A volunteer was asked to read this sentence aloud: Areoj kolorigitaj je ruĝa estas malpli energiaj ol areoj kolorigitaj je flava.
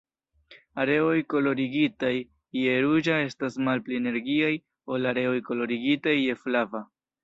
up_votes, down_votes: 2, 0